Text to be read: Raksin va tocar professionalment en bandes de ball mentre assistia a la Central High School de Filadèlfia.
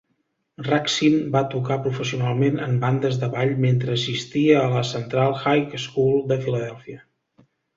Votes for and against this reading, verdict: 2, 0, accepted